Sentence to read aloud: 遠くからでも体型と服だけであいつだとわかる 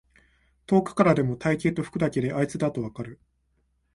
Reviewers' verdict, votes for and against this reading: accepted, 2, 0